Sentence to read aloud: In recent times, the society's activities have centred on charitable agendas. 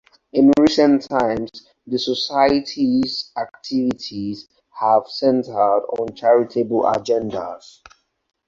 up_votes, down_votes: 4, 2